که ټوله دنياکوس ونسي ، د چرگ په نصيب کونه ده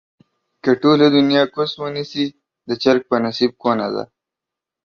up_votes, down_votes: 2, 0